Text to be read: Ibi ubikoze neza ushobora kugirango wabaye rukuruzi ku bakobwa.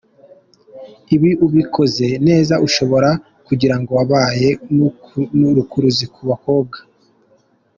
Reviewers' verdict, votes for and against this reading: rejected, 1, 3